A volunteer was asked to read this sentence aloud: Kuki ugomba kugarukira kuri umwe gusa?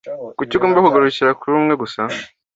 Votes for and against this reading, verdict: 2, 0, accepted